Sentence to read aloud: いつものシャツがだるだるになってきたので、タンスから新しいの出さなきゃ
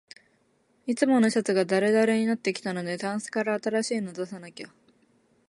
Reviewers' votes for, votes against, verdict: 2, 0, accepted